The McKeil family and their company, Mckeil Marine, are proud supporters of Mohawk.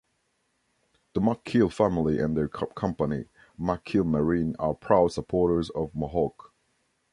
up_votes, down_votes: 1, 2